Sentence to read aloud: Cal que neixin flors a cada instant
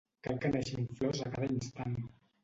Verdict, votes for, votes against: rejected, 0, 2